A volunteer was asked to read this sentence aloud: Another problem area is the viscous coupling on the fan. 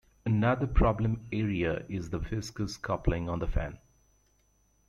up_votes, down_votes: 2, 0